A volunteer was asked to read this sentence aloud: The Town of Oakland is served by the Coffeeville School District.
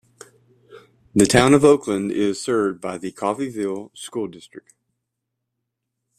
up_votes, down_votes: 2, 0